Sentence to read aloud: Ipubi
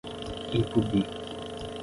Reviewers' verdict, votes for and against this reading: accepted, 15, 0